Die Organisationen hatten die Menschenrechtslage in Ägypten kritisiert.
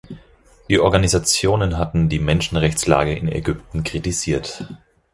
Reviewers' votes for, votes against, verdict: 4, 0, accepted